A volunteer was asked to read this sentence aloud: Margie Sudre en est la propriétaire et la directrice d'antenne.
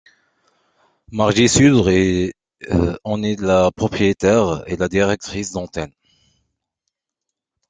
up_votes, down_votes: 0, 2